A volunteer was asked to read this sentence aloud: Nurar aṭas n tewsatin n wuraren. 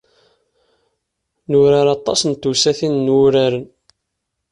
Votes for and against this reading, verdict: 2, 0, accepted